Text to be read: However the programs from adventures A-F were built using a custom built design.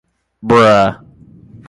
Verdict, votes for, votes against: rejected, 0, 2